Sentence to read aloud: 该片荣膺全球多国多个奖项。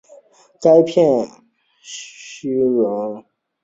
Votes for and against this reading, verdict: 0, 6, rejected